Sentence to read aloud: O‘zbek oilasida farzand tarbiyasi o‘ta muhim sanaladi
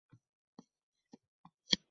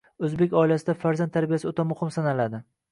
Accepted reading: second